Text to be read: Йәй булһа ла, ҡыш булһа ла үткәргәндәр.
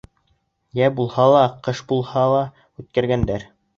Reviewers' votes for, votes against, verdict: 1, 2, rejected